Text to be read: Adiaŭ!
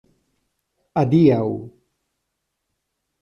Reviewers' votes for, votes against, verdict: 2, 0, accepted